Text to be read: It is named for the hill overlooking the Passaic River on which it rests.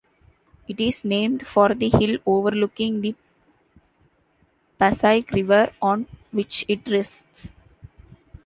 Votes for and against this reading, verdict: 1, 2, rejected